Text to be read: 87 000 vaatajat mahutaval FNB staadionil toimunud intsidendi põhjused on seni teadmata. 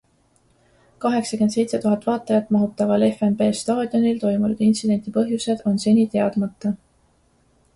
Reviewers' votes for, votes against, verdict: 0, 2, rejected